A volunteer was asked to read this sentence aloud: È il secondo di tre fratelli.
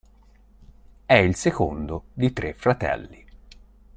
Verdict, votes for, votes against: accepted, 4, 0